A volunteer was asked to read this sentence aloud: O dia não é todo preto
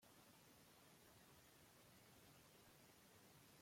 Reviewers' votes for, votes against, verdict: 0, 2, rejected